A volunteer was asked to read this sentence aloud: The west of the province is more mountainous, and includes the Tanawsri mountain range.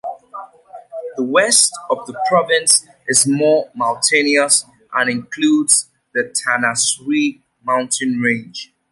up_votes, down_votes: 1, 2